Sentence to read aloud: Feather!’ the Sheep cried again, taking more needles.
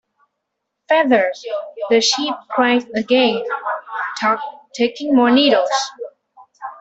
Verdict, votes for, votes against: accepted, 2, 1